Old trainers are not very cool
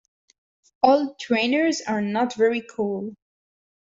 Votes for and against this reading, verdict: 2, 0, accepted